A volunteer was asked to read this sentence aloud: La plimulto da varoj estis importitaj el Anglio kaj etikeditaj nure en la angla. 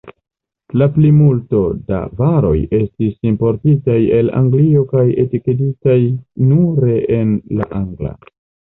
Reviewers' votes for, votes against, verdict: 2, 0, accepted